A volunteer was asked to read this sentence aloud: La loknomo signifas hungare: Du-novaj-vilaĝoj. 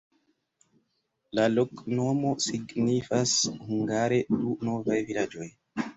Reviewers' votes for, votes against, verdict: 2, 0, accepted